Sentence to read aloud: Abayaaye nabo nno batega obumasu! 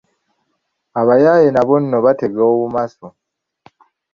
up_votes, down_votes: 3, 2